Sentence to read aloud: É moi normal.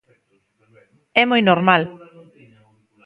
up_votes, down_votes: 1, 2